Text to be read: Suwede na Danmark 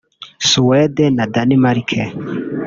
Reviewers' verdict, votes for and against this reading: rejected, 1, 2